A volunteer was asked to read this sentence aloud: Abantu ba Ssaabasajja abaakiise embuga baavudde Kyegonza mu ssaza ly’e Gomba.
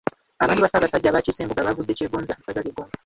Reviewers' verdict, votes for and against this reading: rejected, 0, 2